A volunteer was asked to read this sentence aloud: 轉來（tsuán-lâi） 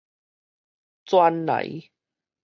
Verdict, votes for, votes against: rejected, 2, 2